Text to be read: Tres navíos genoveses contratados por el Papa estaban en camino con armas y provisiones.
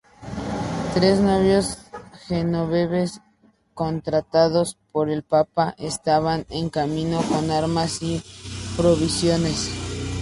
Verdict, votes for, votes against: rejected, 0, 2